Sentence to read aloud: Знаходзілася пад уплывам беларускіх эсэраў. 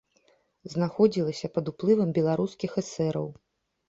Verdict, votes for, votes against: accepted, 2, 0